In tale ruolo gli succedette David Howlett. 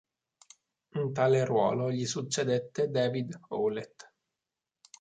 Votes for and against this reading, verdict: 3, 0, accepted